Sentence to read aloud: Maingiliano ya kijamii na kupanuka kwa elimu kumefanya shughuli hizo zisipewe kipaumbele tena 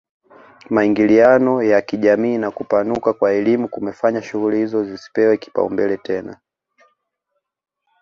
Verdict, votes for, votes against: accepted, 2, 0